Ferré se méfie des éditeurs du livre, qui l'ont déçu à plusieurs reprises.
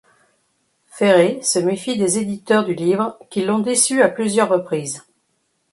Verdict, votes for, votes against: accepted, 2, 0